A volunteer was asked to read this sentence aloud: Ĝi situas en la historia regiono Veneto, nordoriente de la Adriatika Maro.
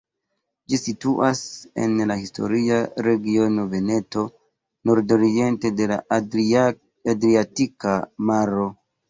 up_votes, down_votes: 1, 2